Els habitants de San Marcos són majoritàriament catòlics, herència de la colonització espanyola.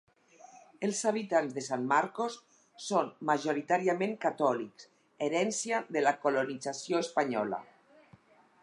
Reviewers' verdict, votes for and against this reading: accepted, 4, 2